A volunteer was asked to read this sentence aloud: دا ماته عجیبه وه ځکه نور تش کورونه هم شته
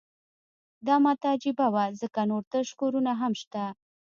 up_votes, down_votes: 2, 0